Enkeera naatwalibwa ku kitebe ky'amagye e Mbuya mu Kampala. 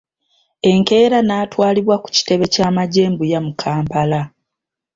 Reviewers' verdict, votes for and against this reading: accepted, 3, 0